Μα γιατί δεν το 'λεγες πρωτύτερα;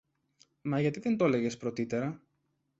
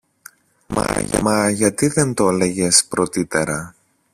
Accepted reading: first